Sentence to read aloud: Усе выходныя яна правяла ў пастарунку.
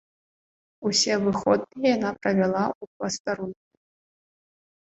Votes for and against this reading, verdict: 0, 2, rejected